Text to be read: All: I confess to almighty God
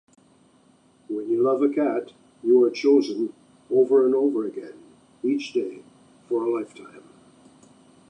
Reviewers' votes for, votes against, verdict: 0, 2, rejected